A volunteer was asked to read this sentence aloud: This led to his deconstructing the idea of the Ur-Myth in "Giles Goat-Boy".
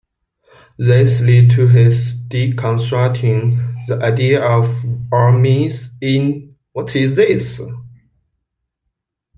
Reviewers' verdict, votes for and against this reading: rejected, 0, 2